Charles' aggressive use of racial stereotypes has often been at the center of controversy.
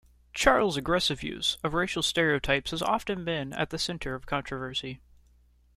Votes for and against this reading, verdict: 2, 0, accepted